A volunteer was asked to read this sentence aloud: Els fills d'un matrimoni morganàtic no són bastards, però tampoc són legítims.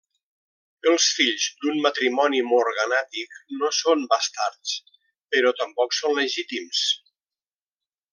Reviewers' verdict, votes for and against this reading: accepted, 3, 0